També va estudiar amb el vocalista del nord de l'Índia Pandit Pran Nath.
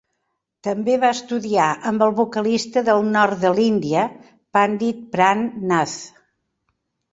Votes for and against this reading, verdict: 3, 0, accepted